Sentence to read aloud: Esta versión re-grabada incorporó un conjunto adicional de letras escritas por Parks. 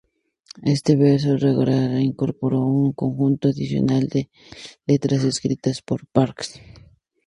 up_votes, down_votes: 0, 2